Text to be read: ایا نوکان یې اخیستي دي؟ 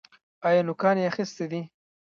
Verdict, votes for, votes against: rejected, 0, 2